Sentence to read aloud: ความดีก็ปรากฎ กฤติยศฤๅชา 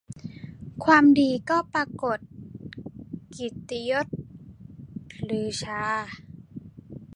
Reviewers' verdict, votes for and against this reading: accepted, 2, 0